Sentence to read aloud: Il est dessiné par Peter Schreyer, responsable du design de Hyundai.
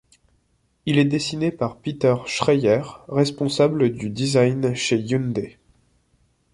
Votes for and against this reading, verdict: 0, 2, rejected